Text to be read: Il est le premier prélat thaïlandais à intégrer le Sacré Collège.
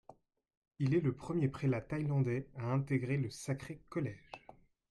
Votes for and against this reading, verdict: 2, 1, accepted